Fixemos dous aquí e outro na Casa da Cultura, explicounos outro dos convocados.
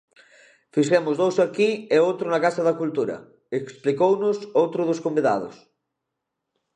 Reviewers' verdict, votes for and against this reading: rejected, 0, 2